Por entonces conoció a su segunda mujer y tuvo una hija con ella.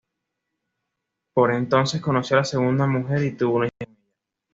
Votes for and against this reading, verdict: 2, 0, accepted